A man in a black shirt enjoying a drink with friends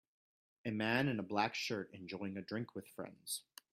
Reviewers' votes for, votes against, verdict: 2, 0, accepted